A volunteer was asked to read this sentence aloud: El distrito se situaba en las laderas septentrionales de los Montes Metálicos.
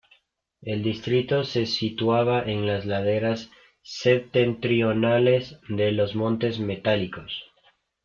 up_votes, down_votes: 0, 2